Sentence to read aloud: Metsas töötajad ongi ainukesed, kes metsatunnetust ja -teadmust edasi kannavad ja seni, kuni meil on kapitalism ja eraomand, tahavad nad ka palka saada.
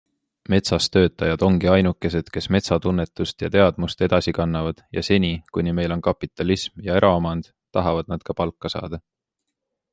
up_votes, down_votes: 2, 0